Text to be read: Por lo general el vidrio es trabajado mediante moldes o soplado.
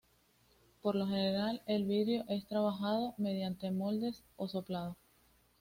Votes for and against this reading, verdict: 2, 0, accepted